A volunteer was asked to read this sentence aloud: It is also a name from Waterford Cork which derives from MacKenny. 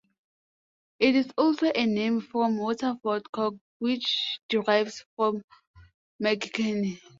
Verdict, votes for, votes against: rejected, 1, 2